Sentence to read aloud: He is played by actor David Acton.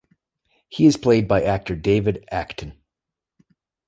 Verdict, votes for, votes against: accepted, 2, 0